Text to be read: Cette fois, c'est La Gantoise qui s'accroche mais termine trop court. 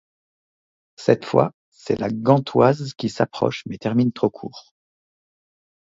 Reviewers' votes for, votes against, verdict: 2, 0, accepted